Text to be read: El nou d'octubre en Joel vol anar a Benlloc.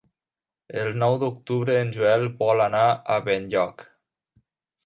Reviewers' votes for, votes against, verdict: 2, 0, accepted